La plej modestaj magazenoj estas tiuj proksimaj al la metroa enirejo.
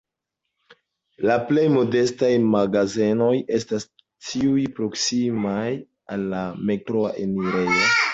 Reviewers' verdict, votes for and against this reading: rejected, 0, 2